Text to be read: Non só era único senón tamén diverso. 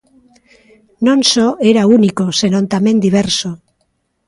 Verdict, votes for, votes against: accepted, 2, 0